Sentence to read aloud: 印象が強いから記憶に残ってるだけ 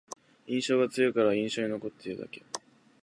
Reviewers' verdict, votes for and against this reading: rejected, 1, 2